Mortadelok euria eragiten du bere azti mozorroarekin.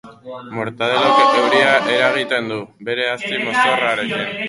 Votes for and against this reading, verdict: 0, 4, rejected